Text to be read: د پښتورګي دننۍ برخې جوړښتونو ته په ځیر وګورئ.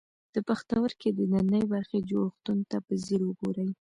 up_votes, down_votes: 1, 2